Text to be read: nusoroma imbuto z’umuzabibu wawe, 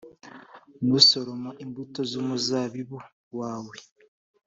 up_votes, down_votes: 2, 0